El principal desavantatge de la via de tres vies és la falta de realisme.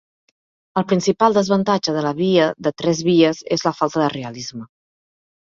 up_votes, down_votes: 2, 1